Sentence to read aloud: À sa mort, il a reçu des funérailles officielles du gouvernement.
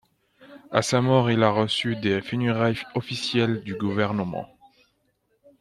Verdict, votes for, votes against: accepted, 2, 0